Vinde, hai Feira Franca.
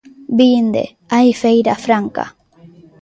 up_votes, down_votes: 2, 0